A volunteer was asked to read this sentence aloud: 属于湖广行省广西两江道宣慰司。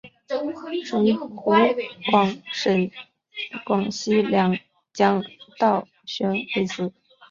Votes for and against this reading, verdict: 0, 2, rejected